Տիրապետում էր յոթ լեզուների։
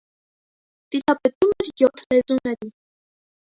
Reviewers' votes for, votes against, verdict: 0, 2, rejected